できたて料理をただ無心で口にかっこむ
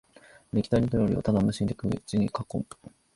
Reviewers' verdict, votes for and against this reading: accepted, 10, 3